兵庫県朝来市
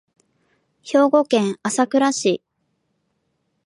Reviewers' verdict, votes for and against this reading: accepted, 13, 4